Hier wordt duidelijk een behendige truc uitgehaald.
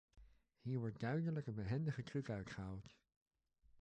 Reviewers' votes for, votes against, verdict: 2, 1, accepted